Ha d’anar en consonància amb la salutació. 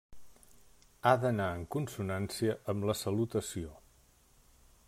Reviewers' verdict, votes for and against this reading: accepted, 3, 0